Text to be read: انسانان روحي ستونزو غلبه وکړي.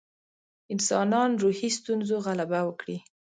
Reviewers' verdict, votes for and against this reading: rejected, 1, 2